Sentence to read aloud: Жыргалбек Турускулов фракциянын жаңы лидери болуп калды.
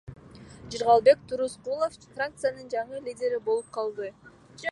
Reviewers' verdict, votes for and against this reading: accepted, 2, 0